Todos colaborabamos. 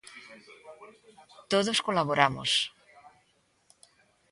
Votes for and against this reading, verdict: 1, 2, rejected